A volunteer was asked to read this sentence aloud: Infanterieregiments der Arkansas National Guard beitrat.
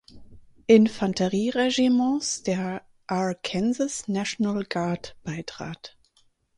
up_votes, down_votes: 2, 4